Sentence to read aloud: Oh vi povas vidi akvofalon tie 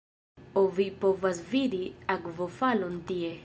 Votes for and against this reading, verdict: 2, 0, accepted